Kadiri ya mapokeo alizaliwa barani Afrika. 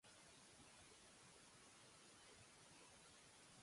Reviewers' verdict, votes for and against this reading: rejected, 0, 2